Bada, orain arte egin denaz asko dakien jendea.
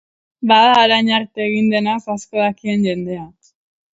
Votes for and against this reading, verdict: 0, 2, rejected